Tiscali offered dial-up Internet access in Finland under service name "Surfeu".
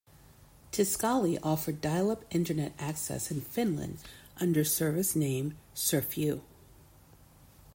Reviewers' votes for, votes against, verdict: 2, 1, accepted